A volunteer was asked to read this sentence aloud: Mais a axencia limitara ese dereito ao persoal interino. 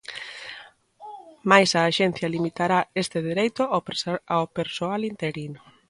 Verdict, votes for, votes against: rejected, 1, 2